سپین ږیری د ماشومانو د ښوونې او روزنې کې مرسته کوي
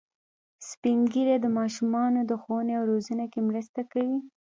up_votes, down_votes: 2, 0